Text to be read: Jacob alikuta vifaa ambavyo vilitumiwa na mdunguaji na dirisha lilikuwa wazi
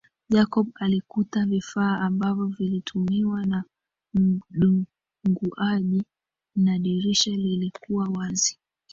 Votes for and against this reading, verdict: 0, 2, rejected